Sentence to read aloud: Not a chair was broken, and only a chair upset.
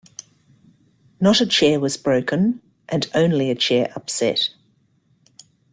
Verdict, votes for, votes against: accepted, 2, 1